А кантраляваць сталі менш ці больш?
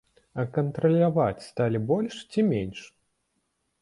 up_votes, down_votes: 0, 2